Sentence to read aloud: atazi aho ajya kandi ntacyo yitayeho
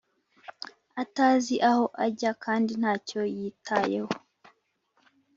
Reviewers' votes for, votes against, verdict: 2, 0, accepted